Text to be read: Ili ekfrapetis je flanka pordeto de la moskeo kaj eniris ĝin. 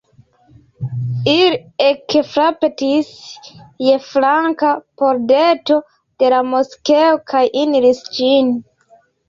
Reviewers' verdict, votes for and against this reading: accepted, 2, 0